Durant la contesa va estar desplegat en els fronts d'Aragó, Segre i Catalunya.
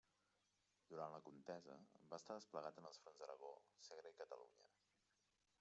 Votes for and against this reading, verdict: 1, 2, rejected